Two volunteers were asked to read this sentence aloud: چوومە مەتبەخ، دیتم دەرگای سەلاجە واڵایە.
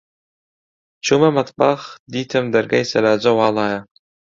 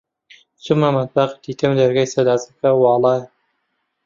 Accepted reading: first